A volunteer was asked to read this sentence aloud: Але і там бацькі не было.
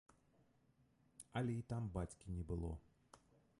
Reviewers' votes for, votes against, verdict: 1, 2, rejected